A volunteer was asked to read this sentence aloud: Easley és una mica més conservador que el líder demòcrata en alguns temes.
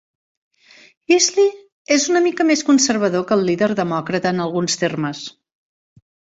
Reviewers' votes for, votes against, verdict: 0, 2, rejected